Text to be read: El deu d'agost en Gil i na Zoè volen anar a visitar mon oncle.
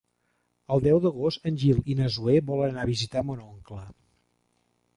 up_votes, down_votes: 3, 0